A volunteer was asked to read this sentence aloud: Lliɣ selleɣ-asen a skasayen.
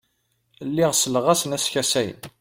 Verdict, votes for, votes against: accepted, 2, 0